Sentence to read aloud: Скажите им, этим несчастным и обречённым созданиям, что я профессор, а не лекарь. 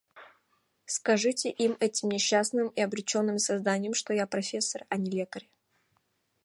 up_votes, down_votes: 2, 1